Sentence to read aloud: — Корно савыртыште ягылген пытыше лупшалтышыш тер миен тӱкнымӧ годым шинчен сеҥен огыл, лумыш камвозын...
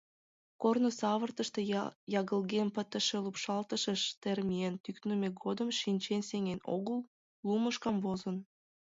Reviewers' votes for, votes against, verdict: 2, 3, rejected